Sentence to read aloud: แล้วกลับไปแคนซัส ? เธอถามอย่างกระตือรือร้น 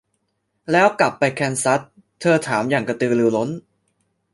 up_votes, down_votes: 2, 0